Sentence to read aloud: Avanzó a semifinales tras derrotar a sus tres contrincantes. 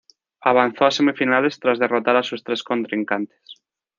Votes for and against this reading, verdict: 2, 0, accepted